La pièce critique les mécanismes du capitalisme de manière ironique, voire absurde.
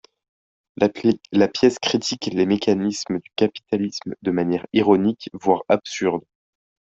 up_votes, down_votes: 0, 3